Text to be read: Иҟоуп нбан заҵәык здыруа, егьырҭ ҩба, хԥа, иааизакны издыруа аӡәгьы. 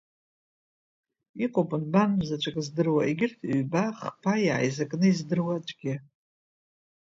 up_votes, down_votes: 2, 1